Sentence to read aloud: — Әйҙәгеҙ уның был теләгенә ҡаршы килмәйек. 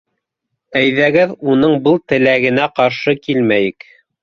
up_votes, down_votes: 2, 0